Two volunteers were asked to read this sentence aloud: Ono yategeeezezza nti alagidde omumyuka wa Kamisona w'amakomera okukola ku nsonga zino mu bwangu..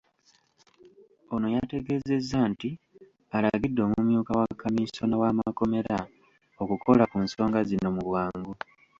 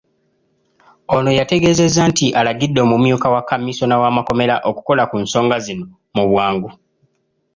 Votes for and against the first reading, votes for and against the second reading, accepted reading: 0, 2, 2, 0, second